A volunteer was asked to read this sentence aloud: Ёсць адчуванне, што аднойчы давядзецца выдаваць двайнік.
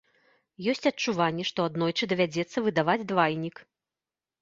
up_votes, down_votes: 0, 2